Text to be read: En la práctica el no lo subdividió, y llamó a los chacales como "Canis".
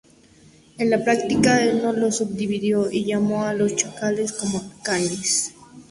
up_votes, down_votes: 0, 2